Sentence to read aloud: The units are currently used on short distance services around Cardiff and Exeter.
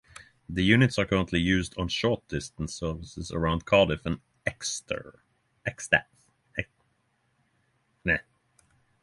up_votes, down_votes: 0, 3